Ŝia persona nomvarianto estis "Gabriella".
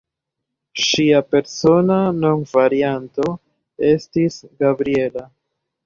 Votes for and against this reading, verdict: 1, 2, rejected